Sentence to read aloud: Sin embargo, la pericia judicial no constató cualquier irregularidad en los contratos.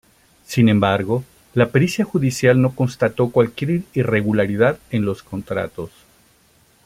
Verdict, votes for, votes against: rejected, 0, 2